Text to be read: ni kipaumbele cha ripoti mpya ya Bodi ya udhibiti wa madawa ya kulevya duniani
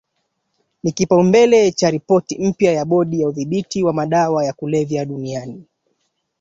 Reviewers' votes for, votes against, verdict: 2, 1, accepted